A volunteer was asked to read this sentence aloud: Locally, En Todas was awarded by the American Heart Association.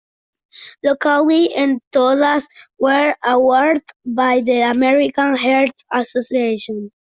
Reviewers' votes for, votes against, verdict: 0, 2, rejected